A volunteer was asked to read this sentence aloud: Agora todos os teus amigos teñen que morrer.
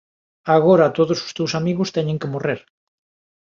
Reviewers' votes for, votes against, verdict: 2, 0, accepted